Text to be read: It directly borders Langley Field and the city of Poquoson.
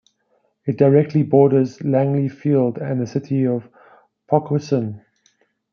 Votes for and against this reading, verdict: 0, 2, rejected